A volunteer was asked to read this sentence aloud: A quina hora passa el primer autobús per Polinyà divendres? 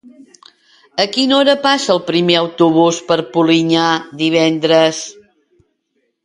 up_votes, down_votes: 2, 0